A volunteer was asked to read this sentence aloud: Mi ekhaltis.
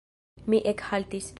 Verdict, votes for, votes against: rejected, 1, 2